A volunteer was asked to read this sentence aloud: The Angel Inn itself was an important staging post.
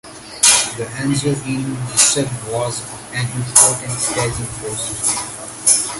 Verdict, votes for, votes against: rejected, 1, 2